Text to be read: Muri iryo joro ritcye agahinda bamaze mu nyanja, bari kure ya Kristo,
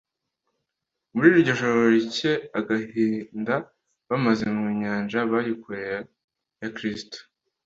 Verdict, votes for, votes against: accepted, 2, 1